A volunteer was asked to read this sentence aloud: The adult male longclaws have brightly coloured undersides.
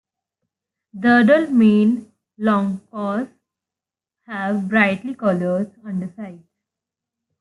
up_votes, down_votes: 1, 2